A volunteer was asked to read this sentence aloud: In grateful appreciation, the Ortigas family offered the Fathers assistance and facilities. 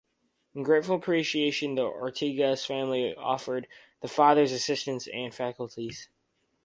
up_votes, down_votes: 0, 4